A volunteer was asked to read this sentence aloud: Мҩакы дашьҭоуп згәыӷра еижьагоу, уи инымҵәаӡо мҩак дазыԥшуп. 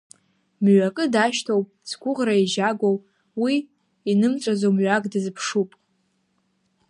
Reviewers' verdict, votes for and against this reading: accepted, 2, 0